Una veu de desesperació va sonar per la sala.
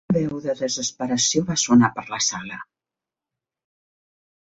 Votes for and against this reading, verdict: 0, 2, rejected